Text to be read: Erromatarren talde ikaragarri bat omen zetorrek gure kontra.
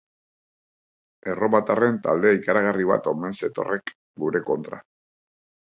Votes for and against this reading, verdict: 5, 0, accepted